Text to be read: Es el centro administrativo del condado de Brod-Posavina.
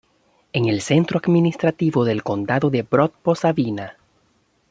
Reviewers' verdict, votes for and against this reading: rejected, 0, 2